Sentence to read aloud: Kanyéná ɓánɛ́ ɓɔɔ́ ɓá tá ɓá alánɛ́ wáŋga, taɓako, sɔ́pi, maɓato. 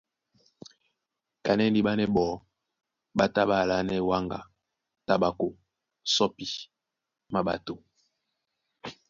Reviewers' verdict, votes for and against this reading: rejected, 1, 2